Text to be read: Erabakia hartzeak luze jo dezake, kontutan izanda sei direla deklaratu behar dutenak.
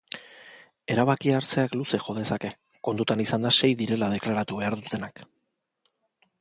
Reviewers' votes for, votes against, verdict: 2, 0, accepted